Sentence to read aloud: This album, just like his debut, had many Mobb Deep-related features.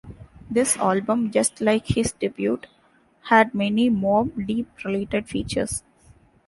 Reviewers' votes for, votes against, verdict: 1, 2, rejected